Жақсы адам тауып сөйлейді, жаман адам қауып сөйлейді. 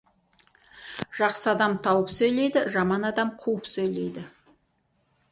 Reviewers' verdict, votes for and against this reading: accepted, 4, 0